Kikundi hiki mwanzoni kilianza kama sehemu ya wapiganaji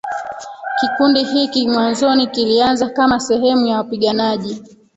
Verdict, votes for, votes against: rejected, 0, 2